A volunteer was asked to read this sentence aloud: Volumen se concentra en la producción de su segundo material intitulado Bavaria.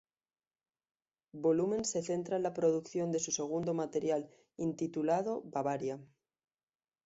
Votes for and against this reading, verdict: 0, 2, rejected